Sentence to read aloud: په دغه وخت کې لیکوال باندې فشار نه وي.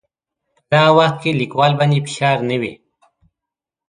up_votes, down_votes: 2, 0